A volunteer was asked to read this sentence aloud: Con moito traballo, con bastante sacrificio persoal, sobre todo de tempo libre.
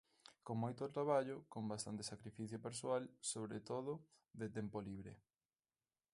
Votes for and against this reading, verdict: 2, 0, accepted